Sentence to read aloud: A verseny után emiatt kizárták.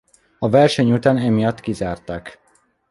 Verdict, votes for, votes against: accepted, 2, 0